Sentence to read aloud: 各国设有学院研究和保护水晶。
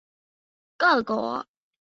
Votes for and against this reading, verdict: 1, 3, rejected